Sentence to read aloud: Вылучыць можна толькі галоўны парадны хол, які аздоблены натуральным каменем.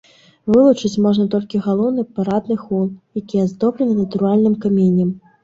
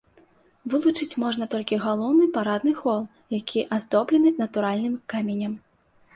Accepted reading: second